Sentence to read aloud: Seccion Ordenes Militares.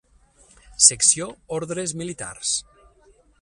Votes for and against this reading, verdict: 0, 6, rejected